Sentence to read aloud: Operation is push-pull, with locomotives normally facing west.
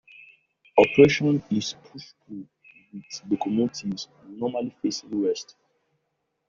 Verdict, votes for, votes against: rejected, 0, 2